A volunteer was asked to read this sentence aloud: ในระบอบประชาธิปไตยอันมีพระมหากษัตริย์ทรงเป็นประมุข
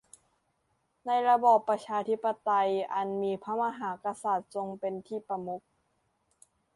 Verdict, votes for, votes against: rejected, 0, 2